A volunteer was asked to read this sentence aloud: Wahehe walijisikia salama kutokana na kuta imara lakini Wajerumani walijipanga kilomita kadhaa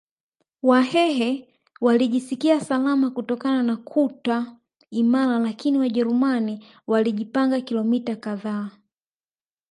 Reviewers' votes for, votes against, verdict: 0, 3, rejected